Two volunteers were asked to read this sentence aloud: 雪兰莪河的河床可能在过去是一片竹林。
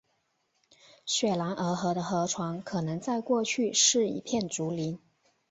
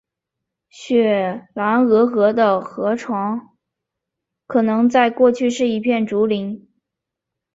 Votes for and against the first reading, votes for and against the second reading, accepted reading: 2, 0, 1, 3, first